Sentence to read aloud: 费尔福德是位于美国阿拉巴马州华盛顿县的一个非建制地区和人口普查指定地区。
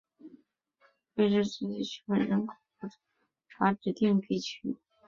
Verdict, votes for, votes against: rejected, 0, 5